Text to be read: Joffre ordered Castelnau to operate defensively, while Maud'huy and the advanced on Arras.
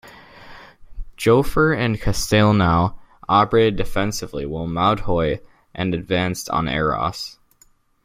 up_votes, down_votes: 1, 2